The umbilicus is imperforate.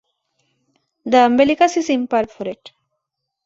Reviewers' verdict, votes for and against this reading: accepted, 2, 0